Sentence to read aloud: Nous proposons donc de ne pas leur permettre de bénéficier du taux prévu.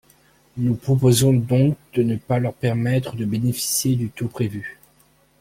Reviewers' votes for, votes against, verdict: 2, 0, accepted